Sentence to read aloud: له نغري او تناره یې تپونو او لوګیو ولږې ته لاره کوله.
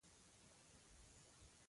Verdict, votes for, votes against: rejected, 1, 2